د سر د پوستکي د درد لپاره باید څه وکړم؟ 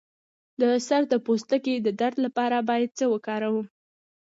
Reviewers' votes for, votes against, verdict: 1, 2, rejected